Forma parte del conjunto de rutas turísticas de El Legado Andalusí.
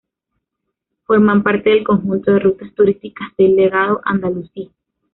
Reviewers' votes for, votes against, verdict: 0, 2, rejected